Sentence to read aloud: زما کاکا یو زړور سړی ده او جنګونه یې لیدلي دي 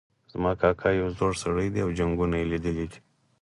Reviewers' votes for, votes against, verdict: 4, 0, accepted